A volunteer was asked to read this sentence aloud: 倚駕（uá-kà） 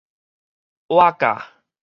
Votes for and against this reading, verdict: 2, 2, rejected